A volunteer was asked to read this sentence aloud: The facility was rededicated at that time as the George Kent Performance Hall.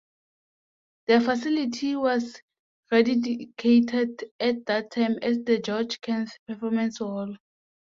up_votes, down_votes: 0, 2